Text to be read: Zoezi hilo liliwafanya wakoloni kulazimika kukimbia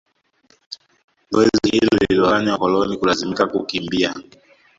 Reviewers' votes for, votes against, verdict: 1, 2, rejected